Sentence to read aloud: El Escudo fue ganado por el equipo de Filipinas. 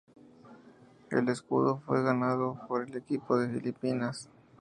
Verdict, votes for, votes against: accepted, 2, 0